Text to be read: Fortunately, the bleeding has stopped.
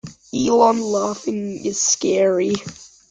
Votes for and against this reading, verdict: 0, 2, rejected